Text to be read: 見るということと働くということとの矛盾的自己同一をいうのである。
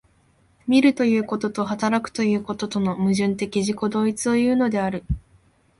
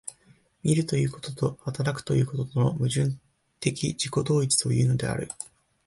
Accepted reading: first